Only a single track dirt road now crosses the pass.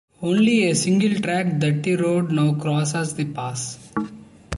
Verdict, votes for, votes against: accepted, 2, 1